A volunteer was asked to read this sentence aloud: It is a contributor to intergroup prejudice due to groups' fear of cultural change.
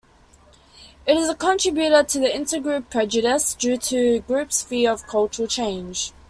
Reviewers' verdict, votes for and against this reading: accepted, 2, 1